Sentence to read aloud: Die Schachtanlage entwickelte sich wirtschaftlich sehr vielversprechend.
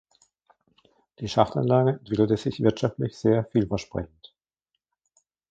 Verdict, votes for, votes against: rejected, 1, 2